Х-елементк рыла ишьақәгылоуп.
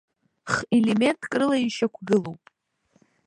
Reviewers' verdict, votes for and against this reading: accepted, 2, 0